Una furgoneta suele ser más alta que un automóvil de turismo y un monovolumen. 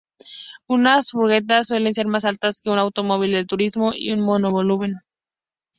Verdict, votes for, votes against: rejected, 0, 2